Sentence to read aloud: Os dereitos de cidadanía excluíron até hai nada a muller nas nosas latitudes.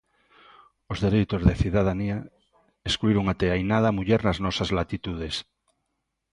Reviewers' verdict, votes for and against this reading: accepted, 2, 0